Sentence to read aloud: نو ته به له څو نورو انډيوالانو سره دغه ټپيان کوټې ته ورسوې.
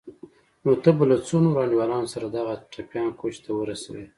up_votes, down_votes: 2, 0